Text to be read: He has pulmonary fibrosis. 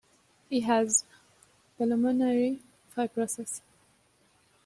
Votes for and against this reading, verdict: 1, 2, rejected